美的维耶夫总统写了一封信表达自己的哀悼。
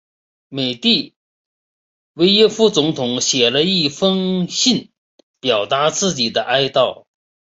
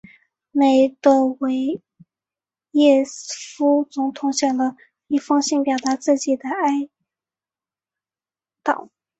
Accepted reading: first